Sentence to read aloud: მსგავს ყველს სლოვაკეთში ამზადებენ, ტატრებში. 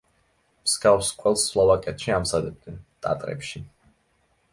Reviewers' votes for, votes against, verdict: 1, 2, rejected